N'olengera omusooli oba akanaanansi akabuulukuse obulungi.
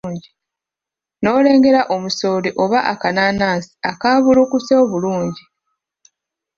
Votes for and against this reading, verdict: 1, 2, rejected